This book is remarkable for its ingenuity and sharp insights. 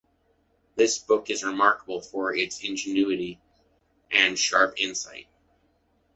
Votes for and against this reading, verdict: 2, 1, accepted